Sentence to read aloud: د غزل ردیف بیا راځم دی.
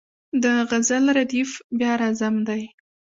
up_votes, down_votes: 2, 0